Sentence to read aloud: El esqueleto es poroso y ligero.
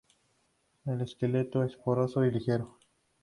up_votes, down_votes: 2, 0